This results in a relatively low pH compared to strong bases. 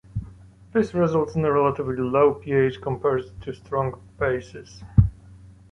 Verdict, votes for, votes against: rejected, 0, 2